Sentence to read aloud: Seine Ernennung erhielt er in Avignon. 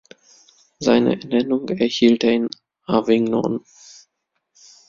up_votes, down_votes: 0, 2